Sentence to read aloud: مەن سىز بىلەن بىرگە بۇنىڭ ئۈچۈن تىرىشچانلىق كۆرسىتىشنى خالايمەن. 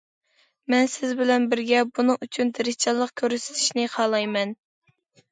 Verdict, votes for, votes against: accepted, 2, 0